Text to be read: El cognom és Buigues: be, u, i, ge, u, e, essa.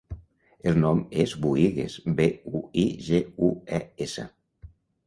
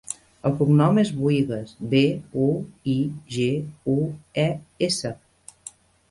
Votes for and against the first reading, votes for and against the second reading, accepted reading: 0, 2, 2, 0, second